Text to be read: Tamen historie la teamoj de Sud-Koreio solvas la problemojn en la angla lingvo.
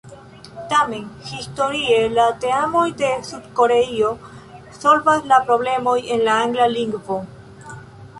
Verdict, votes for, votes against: rejected, 2, 3